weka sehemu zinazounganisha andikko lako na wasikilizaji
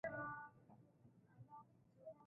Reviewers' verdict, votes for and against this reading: rejected, 0, 2